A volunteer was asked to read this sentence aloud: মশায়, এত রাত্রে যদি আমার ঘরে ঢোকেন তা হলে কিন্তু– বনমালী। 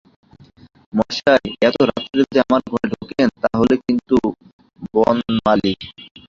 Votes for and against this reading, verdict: 0, 2, rejected